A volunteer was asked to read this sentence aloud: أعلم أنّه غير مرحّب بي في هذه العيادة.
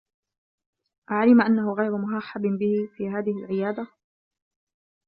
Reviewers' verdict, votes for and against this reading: rejected, 0, 2